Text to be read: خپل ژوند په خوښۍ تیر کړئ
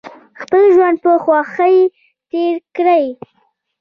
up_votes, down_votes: 2, 0